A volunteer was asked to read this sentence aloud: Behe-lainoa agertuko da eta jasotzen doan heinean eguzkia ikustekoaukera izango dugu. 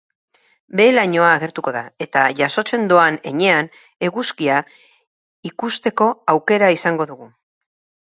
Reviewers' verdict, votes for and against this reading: rejected, 2, 2